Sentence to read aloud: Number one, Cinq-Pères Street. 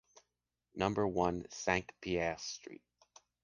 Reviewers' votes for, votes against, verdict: 2, 1, accepted